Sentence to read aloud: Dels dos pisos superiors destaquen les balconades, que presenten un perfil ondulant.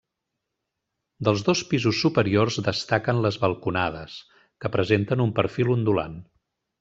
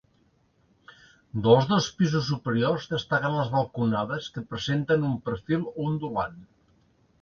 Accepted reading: first